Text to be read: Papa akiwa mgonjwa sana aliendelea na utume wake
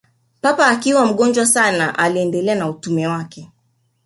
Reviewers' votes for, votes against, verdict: 2, 0, accepted